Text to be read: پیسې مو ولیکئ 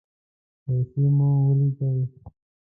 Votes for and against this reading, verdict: 1, 2, rejected